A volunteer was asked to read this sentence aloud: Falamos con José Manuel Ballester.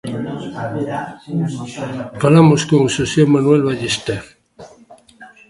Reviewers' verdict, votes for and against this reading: rejected, 0, 2